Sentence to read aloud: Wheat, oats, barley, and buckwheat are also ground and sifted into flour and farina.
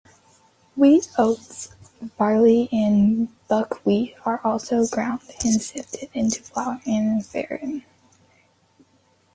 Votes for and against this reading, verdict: 1, 2, rejected